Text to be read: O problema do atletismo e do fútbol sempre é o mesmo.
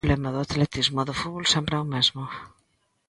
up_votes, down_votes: 1, 2